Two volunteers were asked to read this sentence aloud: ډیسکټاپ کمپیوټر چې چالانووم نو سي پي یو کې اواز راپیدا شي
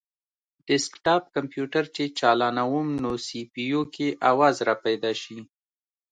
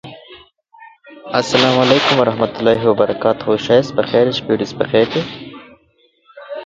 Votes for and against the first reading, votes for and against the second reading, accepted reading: 2, 0, 0, 2, first